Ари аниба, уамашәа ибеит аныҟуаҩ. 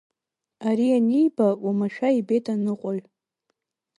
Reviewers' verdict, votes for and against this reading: accepted, 2, 0